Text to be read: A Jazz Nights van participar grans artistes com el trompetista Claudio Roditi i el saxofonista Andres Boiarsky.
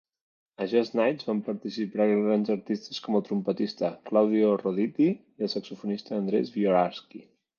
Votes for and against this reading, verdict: 0, 2, rejected